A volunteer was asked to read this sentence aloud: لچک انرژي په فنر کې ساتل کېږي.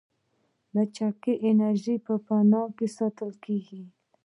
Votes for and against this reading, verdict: 2, 0, accepted